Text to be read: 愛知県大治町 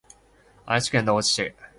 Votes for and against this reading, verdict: 2, 3, rejected